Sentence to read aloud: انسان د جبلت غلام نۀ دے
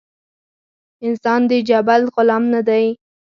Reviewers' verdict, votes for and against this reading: accepted, 4, 0